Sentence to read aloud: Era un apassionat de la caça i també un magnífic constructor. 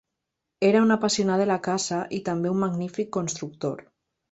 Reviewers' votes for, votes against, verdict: 1, 2, rejected